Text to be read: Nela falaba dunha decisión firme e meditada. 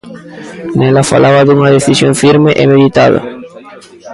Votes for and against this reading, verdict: 1, 2, rejected